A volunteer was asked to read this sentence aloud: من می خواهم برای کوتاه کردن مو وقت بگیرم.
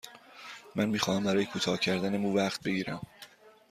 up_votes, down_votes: 2, 0